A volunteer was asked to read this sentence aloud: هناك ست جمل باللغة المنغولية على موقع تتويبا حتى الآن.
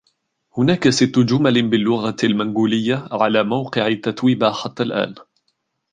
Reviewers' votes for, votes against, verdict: 1, 2, rejected